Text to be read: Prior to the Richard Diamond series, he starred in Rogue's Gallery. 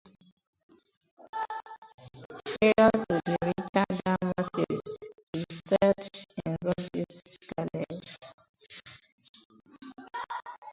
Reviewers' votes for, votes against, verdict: 0, 15, rejected